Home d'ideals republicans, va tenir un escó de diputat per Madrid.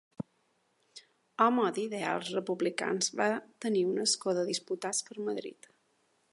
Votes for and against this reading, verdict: 0, 2, rejected